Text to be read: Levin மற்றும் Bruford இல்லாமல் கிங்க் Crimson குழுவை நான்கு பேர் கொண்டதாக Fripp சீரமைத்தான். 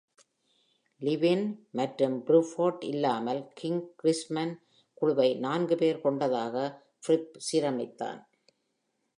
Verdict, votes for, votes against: accepted, 2, 0